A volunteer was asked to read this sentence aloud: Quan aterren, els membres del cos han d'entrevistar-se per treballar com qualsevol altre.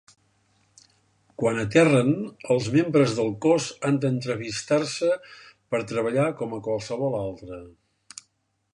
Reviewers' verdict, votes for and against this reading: rejected, 0, 2